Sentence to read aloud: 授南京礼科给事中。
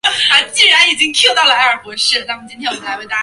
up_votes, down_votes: 1, 3